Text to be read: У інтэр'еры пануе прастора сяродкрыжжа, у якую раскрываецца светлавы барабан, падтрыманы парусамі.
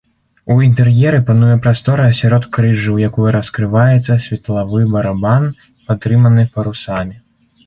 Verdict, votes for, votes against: accepted, 2, 0